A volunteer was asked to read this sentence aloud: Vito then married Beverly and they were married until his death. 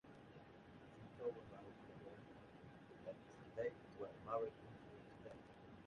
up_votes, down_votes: 1, 2